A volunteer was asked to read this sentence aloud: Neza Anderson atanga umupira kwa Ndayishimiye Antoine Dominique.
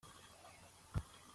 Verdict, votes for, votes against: rejected, 0, 2